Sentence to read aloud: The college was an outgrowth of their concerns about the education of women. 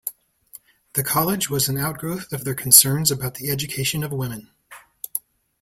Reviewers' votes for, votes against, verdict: 3, 0, accepted